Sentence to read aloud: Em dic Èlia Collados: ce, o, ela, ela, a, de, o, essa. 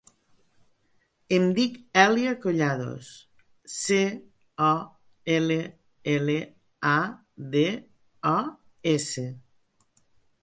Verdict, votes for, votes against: rejected, 0, 2